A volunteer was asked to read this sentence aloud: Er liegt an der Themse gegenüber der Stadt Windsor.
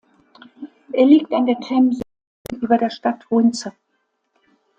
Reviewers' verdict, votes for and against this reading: rejected, 0, 2